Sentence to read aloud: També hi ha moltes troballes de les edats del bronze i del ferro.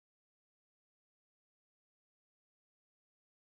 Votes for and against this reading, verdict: 1, 3, rejected